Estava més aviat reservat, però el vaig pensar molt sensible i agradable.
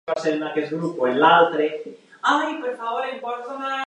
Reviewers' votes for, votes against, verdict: 0, 2, rejected